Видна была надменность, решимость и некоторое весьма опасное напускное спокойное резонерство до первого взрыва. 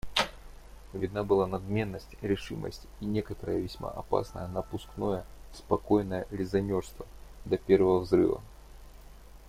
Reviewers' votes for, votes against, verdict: 2, 0, accepted